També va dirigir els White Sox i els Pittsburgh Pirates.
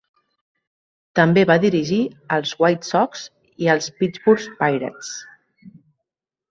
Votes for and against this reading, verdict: 3, 0, accepted